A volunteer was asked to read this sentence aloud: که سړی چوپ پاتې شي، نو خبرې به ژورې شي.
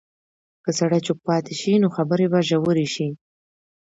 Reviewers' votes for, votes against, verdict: 0, 2, rejected